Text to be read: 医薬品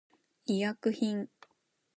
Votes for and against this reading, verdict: 2, 0, accepted